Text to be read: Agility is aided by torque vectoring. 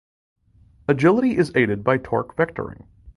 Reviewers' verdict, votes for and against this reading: accepted, 2, 0